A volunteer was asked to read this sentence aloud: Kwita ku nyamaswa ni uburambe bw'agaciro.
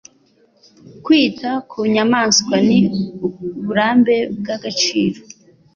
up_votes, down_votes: 3, 0